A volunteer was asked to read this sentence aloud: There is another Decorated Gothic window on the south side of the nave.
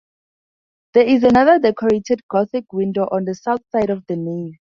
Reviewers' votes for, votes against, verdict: 4, 0, accepted